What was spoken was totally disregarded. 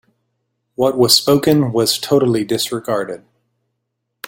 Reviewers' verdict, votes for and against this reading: accepted, 2, 0